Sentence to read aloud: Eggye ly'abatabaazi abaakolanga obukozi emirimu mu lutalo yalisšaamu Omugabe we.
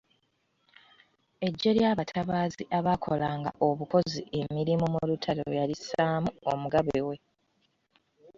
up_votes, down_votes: 0, 2